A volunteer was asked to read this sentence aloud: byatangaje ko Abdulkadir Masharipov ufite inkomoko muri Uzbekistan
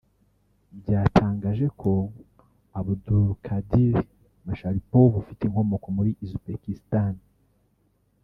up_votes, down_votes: 0, 2